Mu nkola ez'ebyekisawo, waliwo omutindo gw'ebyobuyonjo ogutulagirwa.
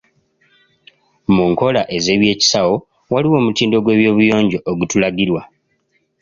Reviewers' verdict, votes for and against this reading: accepted, 2, 0